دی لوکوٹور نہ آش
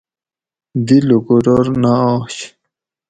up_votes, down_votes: 2, 0